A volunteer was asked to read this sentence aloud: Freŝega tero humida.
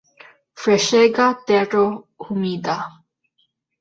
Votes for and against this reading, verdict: 0, 2, rejected